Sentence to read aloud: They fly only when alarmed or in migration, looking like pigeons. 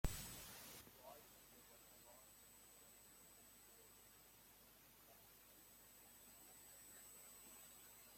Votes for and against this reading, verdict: 0, 2, rejected